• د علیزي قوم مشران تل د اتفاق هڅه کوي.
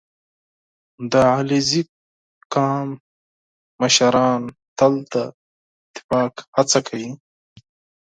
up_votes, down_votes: 4, 2